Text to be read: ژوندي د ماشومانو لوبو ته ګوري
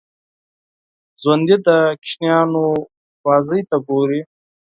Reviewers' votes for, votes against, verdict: 2, 4, rejected